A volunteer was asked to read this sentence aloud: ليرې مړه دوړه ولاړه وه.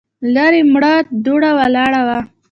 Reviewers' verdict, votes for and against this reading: accepted, 2, 1